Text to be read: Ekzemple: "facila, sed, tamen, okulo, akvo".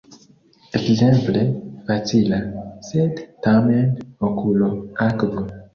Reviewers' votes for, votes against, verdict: 2, 1, accepted